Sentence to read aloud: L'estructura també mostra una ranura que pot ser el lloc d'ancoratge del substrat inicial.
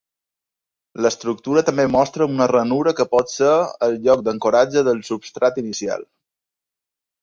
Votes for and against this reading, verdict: 2, 0, accepted